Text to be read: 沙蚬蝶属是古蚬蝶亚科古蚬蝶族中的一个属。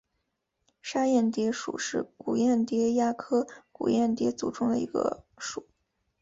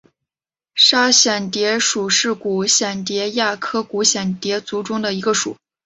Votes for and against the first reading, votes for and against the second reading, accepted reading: 1, 3, 2, 1, second